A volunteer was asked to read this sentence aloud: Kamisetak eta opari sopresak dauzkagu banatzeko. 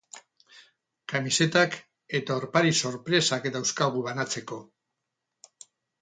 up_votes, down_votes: 2, 2